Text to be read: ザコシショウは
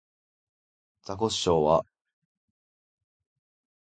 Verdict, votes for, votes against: accepted, 2, 0